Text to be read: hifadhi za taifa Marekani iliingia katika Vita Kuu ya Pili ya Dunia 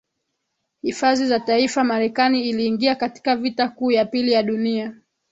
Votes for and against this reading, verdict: 2, 0, accepted